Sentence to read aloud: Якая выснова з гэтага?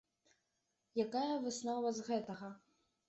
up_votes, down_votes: 2, 0